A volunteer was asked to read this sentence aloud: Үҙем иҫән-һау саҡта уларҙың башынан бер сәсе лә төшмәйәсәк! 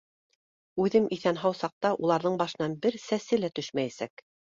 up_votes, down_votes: 2, 0